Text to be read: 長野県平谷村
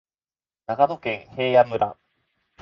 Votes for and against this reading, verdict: 0, 2, rejected